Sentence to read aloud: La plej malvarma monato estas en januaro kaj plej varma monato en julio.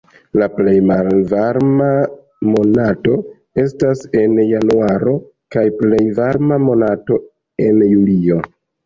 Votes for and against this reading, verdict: 2, 1, accepted